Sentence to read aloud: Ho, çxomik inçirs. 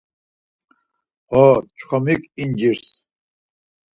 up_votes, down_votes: 2, 4